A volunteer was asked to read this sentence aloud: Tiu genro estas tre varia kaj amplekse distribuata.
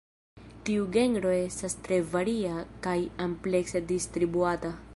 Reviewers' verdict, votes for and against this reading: rejected, 0, 2